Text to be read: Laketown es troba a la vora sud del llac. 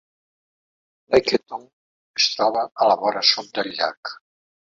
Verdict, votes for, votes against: rejected, 1, 2